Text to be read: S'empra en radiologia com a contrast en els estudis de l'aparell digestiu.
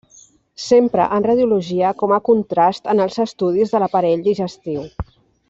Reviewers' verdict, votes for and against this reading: accepted, 2, 0